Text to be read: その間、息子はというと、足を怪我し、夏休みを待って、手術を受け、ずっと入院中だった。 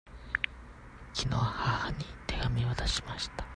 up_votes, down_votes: 0, 2